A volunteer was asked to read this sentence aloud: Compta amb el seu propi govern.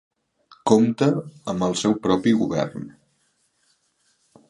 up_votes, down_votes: 2, 0